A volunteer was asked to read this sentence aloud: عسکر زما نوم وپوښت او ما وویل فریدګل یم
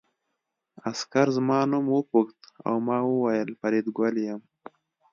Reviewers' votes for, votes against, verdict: 2, 0, accepted